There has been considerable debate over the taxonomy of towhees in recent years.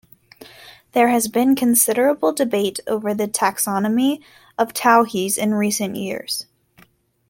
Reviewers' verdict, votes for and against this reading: accepted, 2, 0